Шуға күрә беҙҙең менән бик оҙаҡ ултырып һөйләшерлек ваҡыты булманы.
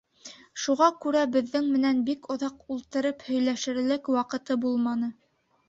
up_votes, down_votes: 2, 0